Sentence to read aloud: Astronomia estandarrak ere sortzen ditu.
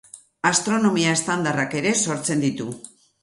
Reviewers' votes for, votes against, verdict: 6, 0, accepted